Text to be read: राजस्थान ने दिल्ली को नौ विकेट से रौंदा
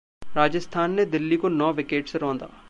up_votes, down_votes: 2, 0